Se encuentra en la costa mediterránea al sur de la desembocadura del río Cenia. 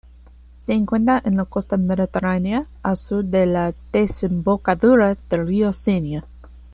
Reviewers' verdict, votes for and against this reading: accepted, 2, 0